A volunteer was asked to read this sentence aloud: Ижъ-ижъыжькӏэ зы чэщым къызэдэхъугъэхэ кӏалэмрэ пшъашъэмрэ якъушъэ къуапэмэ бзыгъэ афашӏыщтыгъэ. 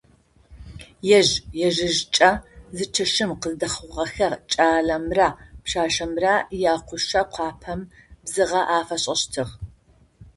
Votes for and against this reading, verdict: 0, 2, rejected